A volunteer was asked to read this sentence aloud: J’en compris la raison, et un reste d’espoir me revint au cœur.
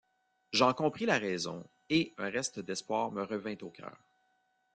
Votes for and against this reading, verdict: 2, 0, accepted